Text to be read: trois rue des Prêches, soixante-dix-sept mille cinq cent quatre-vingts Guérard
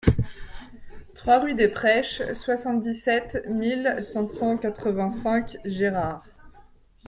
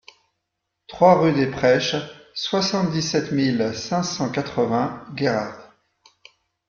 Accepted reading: second